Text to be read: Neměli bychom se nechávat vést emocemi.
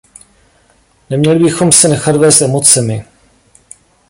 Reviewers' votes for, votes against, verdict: 1, 2, rejected